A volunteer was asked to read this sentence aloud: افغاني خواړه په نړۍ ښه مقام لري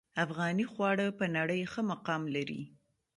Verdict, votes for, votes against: rejected, 1, 2